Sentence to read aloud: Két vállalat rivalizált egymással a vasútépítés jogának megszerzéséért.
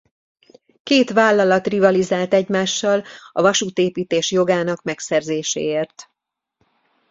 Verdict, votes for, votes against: accepted, 2, 0